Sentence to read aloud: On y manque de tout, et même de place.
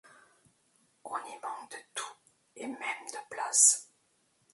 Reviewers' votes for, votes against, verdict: 2, 1, accepted